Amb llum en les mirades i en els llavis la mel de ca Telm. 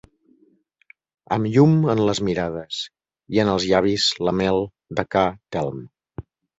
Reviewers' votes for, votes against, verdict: 2, 0, accepted